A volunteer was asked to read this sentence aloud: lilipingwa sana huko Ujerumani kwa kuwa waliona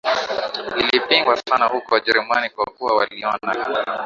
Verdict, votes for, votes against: accepted, 2, 0